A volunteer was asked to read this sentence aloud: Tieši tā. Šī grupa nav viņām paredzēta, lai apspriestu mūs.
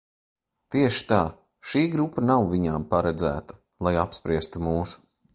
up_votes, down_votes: 2, 0